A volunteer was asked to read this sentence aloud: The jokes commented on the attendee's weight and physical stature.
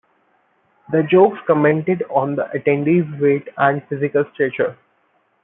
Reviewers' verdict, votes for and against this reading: accepted, 2, 1